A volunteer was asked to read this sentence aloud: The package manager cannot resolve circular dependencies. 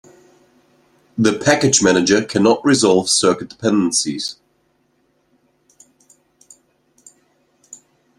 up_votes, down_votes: 0, 2